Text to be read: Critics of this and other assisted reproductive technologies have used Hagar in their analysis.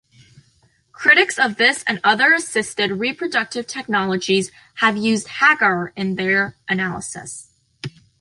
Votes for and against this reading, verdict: 2, 0, accepted